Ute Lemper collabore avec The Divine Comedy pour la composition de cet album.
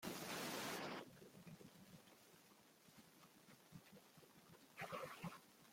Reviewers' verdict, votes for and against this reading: rejected, 0, 2